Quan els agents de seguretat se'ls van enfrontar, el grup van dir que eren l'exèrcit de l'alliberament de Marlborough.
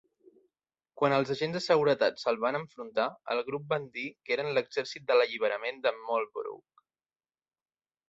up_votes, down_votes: 2, 0